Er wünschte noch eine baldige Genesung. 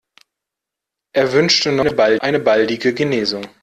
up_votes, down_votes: 0, 2